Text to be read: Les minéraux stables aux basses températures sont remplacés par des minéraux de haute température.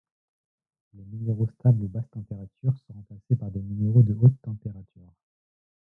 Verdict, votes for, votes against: rejected, 1, 2